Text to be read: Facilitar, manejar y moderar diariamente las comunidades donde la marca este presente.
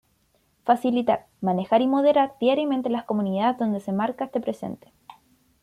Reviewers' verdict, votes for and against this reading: rejected, 1, 2